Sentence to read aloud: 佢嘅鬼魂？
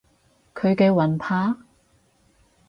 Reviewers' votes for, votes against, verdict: 0, 4, rejected